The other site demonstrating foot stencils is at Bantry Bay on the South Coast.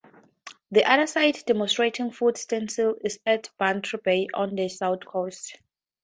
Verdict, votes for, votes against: accepted, 4, 2